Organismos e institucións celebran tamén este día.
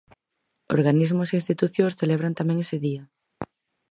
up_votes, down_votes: 0, 4